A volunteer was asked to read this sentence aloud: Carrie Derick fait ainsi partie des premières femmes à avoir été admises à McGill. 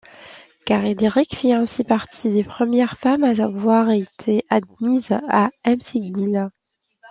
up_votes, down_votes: 1, 2